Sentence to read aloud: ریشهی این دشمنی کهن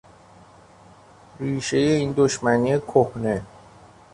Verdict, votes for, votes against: rejected, 0, 2